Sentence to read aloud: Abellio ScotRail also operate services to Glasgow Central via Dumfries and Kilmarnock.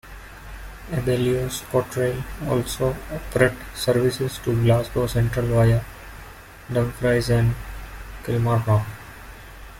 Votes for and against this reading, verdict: 0, 2, rejected